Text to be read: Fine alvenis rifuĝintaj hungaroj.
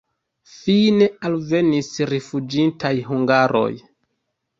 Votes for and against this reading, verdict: 2, 0, accepted